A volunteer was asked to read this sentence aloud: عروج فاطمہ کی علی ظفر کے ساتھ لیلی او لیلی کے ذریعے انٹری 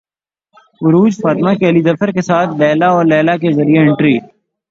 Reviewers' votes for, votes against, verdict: 3, 0, accepted